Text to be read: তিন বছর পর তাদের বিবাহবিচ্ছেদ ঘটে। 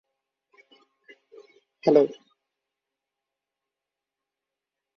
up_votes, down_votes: 0, 7